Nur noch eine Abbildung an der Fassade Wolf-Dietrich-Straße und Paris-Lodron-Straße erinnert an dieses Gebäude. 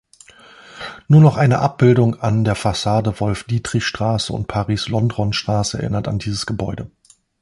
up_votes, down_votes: 0, 2